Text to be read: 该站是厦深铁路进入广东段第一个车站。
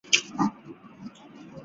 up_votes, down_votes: 1, 2